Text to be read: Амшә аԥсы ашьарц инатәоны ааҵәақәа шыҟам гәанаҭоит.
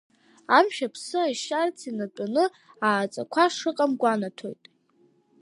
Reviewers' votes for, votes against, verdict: 0, 2, rejected